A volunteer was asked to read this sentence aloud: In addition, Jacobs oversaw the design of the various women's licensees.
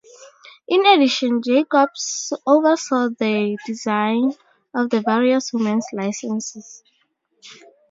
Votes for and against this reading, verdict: 0, 4, rejected